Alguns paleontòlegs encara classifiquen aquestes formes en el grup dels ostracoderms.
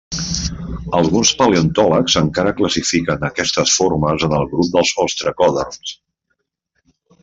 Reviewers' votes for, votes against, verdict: 1, 2, rejected